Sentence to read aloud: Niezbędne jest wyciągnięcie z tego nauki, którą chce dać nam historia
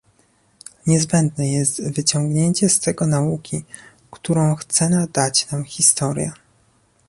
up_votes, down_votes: 1, 2